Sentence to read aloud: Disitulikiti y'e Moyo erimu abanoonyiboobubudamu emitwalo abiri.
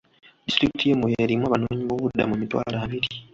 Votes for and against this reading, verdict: 2, 1, accepted